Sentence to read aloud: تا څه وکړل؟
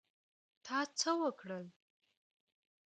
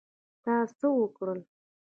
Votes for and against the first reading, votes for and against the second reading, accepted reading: 2, 0, 1, 2, first